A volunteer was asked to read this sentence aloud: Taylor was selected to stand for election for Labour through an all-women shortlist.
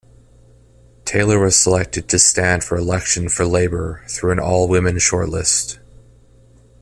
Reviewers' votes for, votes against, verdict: 2, 0, accepted